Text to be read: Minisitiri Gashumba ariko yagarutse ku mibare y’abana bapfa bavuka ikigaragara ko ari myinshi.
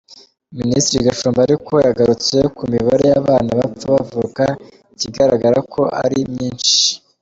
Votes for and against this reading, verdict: 2, 0, accepted